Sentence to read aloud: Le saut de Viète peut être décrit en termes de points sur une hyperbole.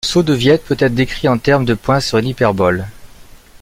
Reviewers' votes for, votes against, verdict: 0, 2, rejected